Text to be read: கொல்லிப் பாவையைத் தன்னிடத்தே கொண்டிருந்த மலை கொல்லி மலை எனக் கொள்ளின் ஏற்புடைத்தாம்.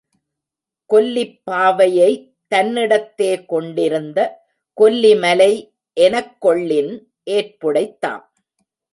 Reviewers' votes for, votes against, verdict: 0, 2, rejected